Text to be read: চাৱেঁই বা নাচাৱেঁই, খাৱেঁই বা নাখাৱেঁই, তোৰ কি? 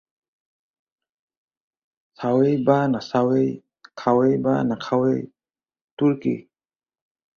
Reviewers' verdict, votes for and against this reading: accepted, 4, 0